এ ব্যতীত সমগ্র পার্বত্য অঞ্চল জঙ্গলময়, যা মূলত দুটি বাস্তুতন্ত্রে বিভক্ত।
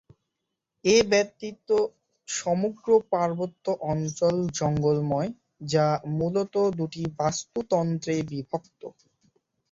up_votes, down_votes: 0, 2